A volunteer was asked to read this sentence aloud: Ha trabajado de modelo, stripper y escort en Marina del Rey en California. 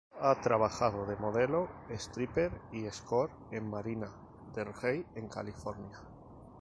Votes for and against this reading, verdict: 2, 0, accepted